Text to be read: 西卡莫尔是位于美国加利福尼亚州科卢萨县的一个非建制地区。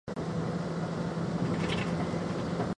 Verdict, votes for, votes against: rejected, 0, 2